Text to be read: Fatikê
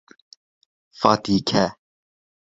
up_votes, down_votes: 0, 2